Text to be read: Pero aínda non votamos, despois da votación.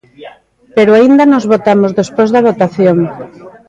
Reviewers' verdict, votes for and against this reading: rejected, 0, 2